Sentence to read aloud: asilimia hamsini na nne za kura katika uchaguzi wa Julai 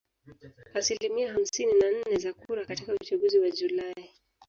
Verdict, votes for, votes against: rejected, 1, 2